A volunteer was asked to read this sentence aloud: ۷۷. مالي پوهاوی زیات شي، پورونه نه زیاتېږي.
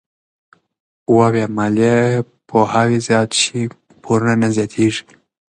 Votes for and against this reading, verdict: 0, 2, rejected